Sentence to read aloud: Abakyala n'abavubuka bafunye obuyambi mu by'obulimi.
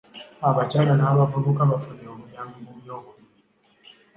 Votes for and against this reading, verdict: 2, 0, accepted